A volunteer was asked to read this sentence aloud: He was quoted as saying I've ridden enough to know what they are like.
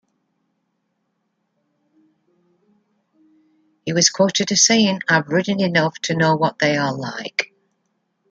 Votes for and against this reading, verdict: 2, 0, accepted